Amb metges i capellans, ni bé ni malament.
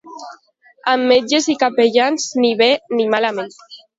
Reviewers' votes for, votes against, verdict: 1, 2, rejected